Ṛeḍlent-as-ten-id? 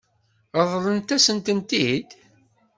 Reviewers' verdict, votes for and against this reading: rejected, 1, 2